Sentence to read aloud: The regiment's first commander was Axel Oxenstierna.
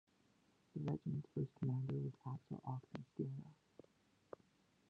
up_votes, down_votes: 1, 2